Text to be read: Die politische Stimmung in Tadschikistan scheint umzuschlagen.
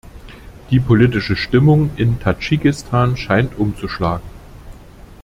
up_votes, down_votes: 2, 0